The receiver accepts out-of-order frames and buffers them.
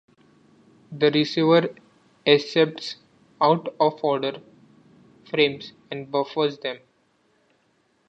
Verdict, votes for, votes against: accepted, 2, 0